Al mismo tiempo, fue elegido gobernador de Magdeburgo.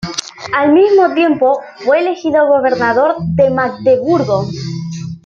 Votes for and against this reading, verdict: 2, 0, accepted